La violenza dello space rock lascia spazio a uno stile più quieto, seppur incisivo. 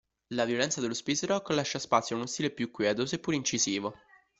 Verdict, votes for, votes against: accepted, 3, 0